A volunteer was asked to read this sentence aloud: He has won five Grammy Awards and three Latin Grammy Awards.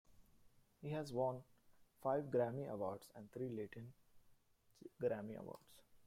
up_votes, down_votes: 0, 2